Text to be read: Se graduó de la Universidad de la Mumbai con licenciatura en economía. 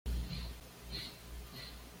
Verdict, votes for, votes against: rejected, 1, 3